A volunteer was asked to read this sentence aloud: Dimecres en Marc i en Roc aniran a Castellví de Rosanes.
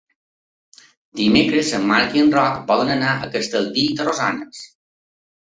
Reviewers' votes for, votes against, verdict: 1, 2, rejected